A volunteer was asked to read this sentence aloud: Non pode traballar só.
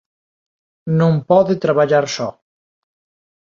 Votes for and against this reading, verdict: 2, 0, accepted